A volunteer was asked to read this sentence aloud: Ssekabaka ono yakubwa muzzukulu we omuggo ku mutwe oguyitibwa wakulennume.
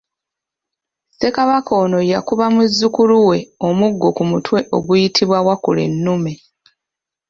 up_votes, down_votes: 2, 0